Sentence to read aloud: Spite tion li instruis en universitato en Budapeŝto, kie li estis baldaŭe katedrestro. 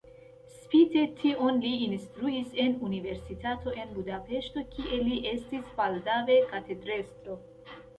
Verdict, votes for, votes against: rejected, 2, 3